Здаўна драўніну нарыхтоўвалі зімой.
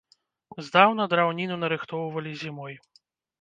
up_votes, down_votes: 0, 2